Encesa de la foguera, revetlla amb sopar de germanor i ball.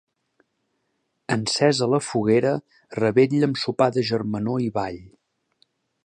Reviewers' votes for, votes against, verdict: 1, 2, rejected